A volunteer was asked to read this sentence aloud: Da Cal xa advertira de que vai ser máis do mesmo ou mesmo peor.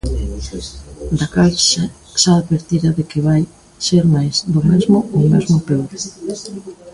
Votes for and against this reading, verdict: 1, 2, rejected